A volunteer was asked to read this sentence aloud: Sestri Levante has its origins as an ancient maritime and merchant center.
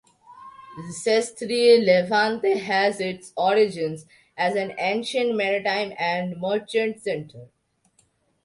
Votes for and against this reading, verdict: 2, 0, accepted